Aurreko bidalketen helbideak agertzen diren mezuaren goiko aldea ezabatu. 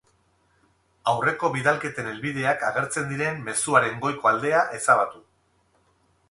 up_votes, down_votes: 8, 0